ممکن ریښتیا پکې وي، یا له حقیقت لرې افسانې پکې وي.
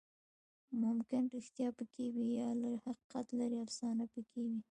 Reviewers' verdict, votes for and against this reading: rejected, 1, 2